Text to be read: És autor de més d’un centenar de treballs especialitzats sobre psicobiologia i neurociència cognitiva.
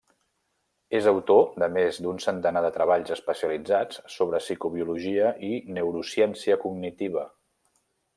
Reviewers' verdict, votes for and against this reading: accepted, 3, 0